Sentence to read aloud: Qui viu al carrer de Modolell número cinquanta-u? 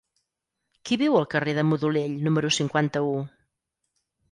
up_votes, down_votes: 4, 0